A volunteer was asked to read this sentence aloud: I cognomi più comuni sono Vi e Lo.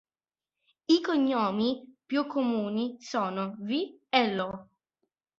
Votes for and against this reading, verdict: 3, 1, accepted